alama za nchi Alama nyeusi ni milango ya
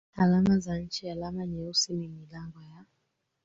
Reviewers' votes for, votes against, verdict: 1, 3, rejected